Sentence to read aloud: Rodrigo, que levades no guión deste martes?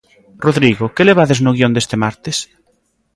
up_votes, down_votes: 2, 0